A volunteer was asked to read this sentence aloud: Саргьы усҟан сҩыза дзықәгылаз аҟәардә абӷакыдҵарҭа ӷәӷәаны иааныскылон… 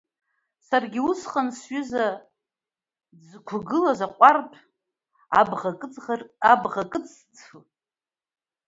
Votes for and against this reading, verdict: 0, 2, rejected